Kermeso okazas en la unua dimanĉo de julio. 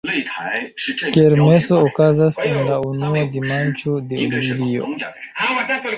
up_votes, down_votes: 1, 2